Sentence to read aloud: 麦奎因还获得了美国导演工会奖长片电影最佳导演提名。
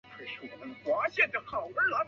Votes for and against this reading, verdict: 0, 2, rejected